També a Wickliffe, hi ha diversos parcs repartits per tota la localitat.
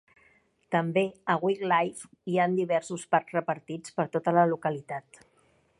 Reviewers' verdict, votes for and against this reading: accepted, 3, 0